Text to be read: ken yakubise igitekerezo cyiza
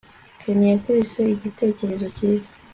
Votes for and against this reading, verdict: 3, 0, accepted